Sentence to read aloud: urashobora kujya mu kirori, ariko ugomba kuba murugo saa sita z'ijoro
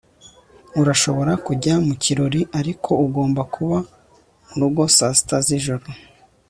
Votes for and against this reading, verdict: 2, 0, accepted